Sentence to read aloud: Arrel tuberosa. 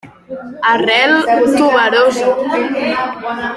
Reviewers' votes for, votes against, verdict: 1, 2, rejected